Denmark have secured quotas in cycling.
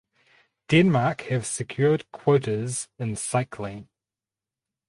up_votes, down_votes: 4, 0